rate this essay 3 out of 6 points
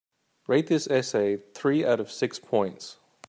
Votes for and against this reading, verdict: 0, 2, rejected